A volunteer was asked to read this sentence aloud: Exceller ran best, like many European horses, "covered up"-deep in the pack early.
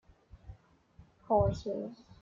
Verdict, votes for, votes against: rejected, 0, 2